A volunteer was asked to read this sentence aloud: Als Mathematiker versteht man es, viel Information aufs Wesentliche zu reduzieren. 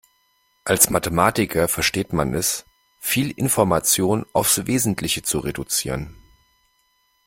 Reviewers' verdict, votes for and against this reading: accepted, 2, 0